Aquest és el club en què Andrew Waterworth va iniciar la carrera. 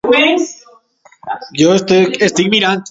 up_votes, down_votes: 0, 2